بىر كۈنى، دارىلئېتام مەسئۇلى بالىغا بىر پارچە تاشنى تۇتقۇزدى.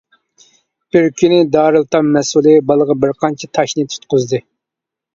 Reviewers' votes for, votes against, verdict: 2, 1, accepted